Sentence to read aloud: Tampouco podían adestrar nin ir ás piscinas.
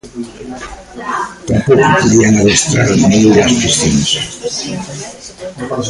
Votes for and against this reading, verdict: 0, 3, rejected